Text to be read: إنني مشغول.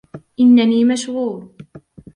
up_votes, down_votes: 2, 0